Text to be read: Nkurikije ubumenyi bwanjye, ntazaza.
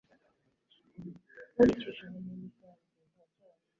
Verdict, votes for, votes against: rejected, 0, 2